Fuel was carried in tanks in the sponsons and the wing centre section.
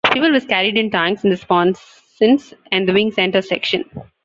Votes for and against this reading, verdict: 1, 2, rejected